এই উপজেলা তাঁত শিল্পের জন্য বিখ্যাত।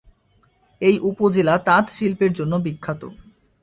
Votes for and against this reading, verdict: 2, 0, accepted